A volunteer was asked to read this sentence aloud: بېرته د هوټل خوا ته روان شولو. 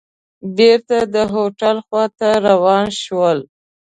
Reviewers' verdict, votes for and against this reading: rejected, 1, 2